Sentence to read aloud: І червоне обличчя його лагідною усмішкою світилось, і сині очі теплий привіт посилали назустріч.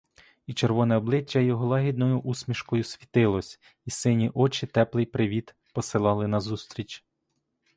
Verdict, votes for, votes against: accepted, 2, 0